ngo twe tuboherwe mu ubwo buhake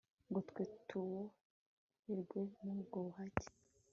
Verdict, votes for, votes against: accepted, 2, 0